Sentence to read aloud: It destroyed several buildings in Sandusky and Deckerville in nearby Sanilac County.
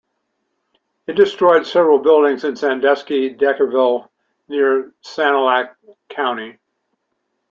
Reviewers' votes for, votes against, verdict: 0, 2, rejected